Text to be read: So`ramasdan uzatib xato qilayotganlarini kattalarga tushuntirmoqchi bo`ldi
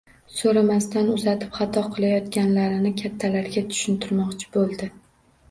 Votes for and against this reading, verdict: 2, 1, accepted